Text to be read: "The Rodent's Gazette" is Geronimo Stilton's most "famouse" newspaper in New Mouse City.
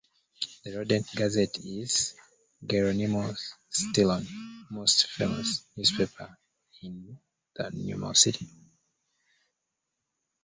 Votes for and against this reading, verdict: 0, 2, rejected